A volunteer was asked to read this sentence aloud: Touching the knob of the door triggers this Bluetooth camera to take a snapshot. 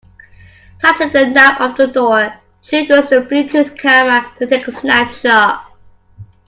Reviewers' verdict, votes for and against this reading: accepted, 2, 1